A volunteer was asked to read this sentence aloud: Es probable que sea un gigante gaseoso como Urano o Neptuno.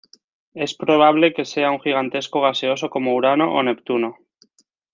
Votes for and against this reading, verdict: 0, 2, rejected